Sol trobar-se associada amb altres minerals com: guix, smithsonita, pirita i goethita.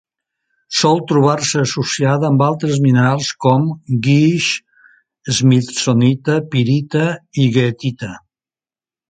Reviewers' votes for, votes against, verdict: 2, 0, accepted